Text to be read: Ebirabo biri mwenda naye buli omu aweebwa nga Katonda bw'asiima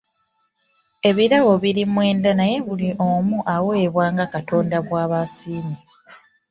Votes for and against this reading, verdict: 1, 2, rejected